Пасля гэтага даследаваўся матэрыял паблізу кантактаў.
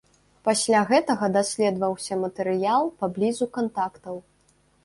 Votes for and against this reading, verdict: 2, 0, accepted